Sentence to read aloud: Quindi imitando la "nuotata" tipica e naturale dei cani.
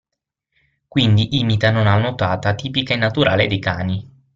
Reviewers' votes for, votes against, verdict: 0, 6, rejected